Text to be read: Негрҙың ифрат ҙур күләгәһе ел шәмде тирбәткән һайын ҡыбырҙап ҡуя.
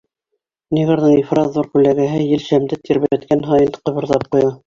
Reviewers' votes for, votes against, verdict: 3, 2, accepted